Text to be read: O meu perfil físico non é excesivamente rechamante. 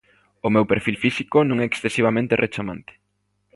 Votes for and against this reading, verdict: 2, 0, accepted